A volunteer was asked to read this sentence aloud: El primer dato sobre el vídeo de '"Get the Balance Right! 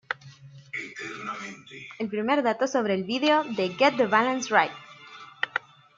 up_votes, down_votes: 2, 0